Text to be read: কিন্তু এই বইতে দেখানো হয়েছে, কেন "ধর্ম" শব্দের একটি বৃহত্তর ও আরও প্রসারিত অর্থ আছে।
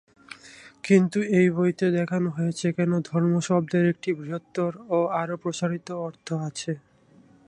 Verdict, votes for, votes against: rejected, 0, 2